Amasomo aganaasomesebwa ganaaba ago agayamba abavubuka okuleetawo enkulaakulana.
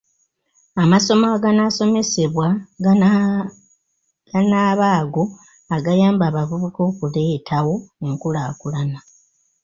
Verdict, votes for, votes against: accepted, 2, 0